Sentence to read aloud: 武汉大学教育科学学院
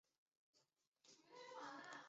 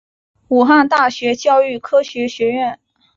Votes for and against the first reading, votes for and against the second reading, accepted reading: 2, 5, 4, 0, second